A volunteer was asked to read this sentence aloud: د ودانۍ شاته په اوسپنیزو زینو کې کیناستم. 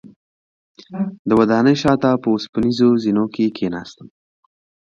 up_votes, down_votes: 4, 0